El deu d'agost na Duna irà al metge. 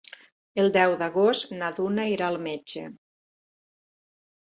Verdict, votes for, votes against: accepted, 3, 0